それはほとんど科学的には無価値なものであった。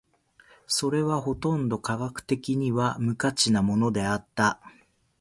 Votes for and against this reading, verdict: 2, 1, accepted